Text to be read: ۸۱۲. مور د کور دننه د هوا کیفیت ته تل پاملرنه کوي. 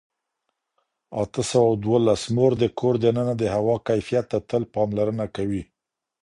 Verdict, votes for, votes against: rejected, 0, 2